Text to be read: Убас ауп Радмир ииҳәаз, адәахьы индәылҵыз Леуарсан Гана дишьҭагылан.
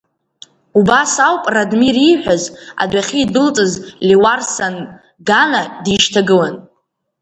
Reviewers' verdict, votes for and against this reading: accepted, 2, 1